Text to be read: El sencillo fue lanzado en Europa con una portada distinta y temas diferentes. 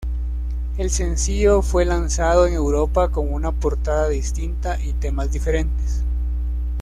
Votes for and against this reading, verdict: 2, 0, accepted